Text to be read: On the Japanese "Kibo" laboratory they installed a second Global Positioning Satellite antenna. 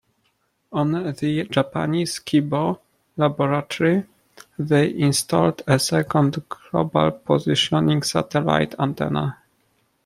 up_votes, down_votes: 2, 0